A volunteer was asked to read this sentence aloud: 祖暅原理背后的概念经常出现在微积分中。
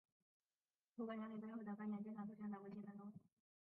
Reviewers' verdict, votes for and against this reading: rejected, 0, 2